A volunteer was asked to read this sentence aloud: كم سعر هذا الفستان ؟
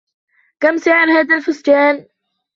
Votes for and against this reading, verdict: 1, 2, rejected